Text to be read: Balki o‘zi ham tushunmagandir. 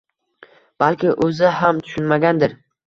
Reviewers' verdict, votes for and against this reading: accepted, 2, 0